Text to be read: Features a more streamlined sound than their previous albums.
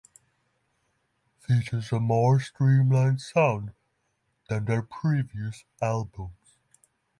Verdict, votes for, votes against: rejected, 3, 3